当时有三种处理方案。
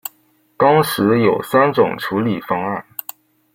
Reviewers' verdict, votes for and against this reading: accepted, 2, 0